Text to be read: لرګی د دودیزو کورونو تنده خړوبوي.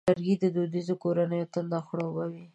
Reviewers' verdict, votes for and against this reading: rejected, 0, 4